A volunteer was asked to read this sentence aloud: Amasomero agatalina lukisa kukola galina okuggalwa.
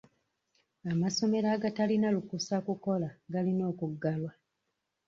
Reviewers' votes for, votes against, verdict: 3, 1, accepted